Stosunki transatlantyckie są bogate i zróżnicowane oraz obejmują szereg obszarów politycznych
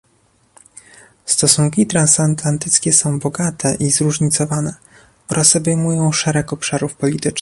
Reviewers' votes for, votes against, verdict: 1, 2, rejected